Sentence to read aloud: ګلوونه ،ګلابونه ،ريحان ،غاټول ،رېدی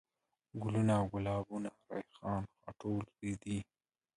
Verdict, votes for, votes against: accepted, 2, 1